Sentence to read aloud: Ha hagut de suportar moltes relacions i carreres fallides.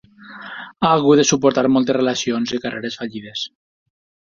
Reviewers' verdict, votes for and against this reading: accepted, 4, 0